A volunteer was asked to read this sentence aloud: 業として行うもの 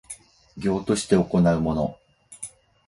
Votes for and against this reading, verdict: 4, 0, accepted